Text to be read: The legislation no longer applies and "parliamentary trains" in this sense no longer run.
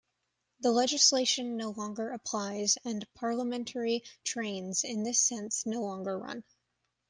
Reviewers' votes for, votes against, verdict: 2, 0, accepted